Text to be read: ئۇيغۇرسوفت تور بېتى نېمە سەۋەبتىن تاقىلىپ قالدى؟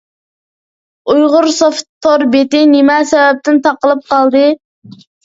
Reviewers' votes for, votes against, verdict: 2, 0, accepted